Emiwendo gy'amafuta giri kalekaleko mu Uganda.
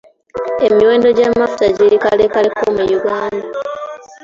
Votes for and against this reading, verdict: 2, 0, accepted